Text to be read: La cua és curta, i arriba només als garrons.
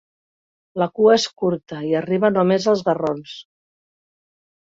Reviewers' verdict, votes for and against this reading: accepted, 3, 0